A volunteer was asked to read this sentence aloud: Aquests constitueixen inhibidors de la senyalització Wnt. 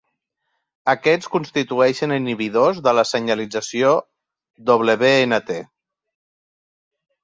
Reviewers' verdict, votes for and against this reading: accepted, 3, 0